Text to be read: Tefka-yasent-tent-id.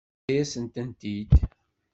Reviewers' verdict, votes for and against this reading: accepted, 2, 0